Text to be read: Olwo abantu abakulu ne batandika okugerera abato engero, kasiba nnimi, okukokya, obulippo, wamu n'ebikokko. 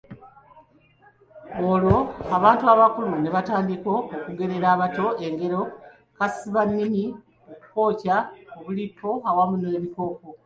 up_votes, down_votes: 1, 2